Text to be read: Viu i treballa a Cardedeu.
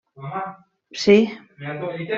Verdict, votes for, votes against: rejected, 1, 2